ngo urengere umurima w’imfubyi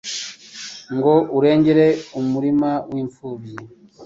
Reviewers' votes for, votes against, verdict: 3, 0, accepted